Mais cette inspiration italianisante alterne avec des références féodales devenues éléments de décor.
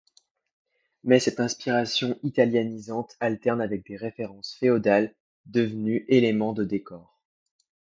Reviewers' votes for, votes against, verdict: 2, 0, accepted